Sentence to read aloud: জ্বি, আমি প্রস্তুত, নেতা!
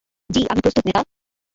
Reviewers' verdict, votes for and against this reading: rejected, 1, 2